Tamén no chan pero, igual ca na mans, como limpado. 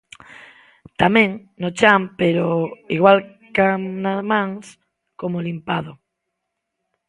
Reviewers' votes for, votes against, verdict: 0, 2, rejected